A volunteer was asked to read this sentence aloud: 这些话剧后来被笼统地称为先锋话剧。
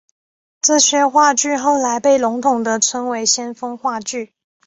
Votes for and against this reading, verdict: 5, 0, accepted